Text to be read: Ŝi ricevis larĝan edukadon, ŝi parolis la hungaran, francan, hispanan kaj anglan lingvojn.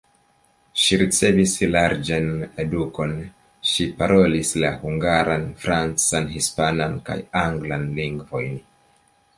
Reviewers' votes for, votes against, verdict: 3, 0, accepted